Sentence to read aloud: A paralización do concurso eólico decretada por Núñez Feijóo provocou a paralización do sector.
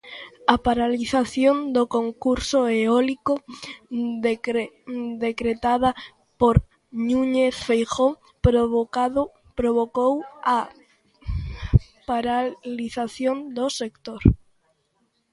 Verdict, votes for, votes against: rejected, 0, 2